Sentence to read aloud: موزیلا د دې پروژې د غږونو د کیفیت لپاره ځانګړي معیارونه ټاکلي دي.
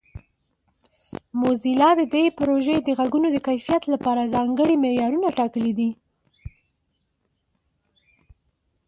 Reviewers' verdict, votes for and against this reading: accepted, 2, 0